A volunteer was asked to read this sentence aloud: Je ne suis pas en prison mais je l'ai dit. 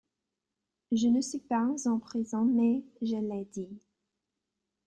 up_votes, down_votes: 0, 2